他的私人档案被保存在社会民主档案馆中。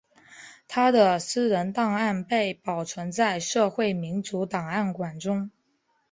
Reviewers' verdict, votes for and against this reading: accepted, 2, 0